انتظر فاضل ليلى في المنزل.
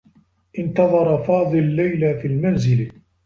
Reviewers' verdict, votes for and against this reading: accepted, 2, 1